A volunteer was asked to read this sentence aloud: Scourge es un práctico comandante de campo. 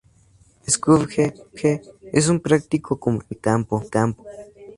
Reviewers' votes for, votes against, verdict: 2, 0, accepted